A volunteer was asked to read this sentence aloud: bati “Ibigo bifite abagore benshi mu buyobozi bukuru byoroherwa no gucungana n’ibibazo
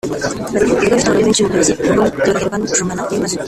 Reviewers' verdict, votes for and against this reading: rejected, 0, 2